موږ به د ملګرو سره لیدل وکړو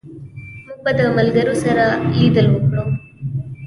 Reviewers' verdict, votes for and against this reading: rejected, 1, 2